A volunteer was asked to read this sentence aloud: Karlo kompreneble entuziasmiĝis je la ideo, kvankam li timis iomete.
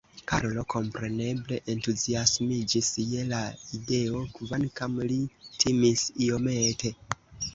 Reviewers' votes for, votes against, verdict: 1, 2, rejected